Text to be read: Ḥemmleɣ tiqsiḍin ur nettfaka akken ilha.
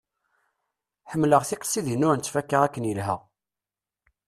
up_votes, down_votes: 1, 2